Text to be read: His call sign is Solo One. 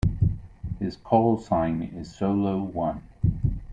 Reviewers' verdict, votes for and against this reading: accepted, 2, 0